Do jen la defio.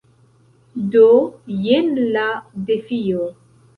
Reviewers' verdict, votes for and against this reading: accepted, 2, 0